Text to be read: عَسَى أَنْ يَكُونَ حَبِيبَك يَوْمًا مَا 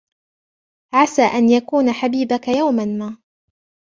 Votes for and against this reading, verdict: 0, 2, rejected